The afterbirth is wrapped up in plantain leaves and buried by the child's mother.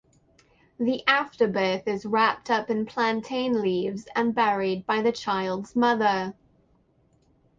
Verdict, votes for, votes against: accepted, 8, 0